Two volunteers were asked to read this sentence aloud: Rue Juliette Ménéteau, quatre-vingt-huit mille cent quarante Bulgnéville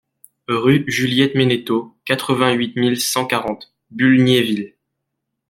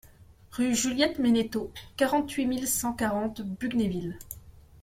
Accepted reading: first